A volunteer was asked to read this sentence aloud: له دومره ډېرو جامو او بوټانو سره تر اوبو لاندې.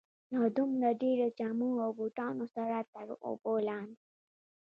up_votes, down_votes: 0, 2